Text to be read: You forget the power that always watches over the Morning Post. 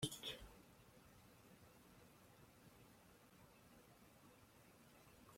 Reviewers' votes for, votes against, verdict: 0, 2, rejected